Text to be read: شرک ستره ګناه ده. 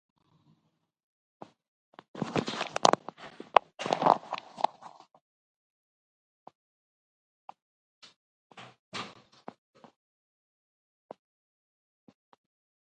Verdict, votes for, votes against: rejected, 0, 2